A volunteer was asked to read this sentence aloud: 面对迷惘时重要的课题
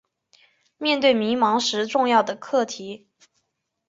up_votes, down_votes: 2, 1